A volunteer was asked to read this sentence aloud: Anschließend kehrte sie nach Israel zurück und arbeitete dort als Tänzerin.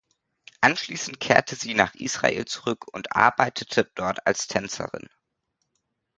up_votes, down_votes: 2, 0